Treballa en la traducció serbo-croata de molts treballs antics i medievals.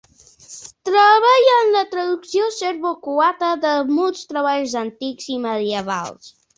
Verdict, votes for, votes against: accepted, 2, 0